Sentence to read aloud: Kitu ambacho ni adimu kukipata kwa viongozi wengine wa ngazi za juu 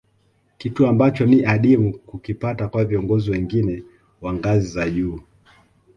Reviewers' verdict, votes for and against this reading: accepted, 2, 0